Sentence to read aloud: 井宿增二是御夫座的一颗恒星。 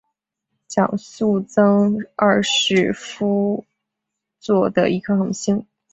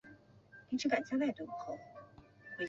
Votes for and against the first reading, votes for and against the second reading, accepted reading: 0, 4, 4, 1, second